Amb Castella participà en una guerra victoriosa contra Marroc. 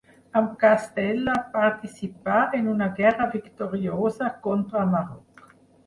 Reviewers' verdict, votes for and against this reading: rejected, 2, 4